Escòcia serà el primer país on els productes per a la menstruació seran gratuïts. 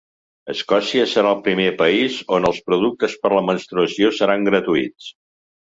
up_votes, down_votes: 2, 0